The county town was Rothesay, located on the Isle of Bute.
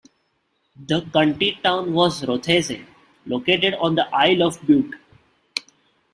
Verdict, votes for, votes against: rejected, 1, 2